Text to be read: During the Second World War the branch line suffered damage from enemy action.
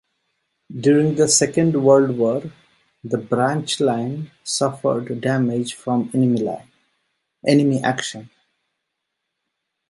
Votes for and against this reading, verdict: 1, 2, rejected